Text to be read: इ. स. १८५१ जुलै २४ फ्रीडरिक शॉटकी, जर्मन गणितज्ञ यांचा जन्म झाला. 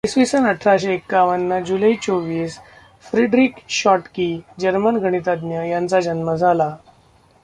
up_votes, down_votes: 0, 2